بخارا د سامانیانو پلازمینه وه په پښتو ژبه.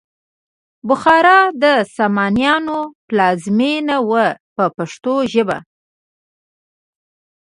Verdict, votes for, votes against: accepted, 2, 0